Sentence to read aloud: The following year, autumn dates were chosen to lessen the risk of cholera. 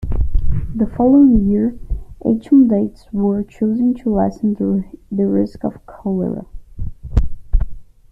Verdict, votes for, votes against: rejected, 0, 2